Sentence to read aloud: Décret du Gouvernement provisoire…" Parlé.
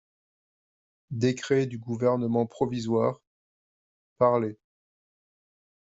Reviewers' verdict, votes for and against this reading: accepted, 2, 0